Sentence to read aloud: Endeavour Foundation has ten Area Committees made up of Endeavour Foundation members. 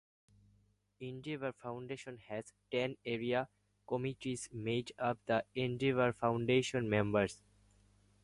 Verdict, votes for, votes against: accepted, 4, 0